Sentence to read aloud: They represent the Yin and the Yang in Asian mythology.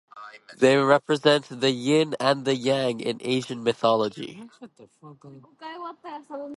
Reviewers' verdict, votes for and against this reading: accepted, 2, 0